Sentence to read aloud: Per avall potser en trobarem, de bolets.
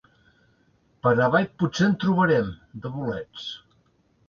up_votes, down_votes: 2, 0